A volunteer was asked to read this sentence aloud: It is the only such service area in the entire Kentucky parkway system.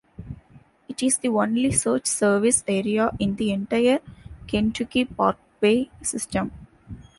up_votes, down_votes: 2, 0